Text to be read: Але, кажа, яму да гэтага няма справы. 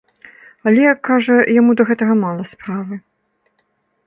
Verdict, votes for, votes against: rejected, 1, 2